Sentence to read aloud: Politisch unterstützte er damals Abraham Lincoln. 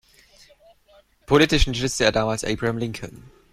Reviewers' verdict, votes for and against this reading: rejected, 1, 2